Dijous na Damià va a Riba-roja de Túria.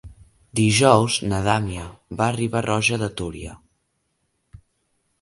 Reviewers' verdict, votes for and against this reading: rejected, 0, 2